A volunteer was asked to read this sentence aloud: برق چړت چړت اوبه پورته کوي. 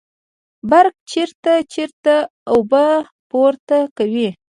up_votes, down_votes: 2, 0